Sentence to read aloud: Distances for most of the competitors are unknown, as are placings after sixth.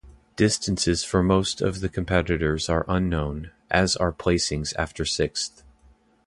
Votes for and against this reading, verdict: 1, 2, rejected